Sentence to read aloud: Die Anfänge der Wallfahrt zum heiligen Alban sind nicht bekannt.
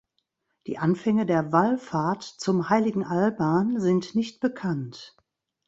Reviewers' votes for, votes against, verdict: 2, 0, accepted